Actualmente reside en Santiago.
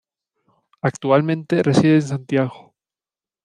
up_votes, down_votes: 2, 1